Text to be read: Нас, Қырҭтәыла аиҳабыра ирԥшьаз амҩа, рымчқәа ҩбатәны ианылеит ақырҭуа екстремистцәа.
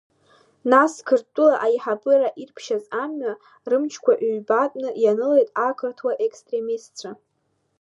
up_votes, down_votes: 2, 0